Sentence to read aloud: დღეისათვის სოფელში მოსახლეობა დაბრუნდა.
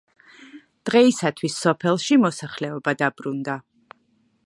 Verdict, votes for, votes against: accepted, 2, 0